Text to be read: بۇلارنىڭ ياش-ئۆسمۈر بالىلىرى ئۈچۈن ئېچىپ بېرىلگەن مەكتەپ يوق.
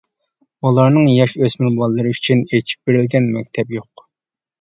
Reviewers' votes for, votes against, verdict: 2, 0, accepted